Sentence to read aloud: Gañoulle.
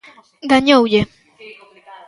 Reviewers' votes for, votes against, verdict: 2, 3, rejected